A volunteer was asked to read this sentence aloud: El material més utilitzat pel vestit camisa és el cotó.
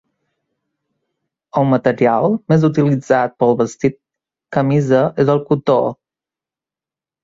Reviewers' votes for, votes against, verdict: 2, 0, accepted